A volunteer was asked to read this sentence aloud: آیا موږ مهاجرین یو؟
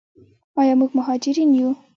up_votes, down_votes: 0, 2